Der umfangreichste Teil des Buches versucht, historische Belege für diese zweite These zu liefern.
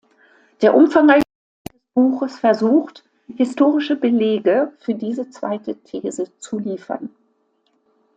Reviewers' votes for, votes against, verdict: 0, 2, rejected